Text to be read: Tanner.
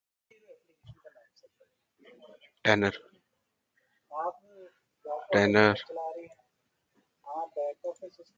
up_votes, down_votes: 0, 2